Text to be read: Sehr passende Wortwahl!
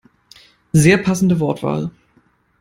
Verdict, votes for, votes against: accepted, 2, 0